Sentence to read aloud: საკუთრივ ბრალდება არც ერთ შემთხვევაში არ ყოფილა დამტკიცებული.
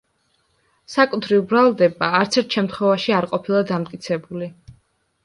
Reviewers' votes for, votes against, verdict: 2, 0, accepted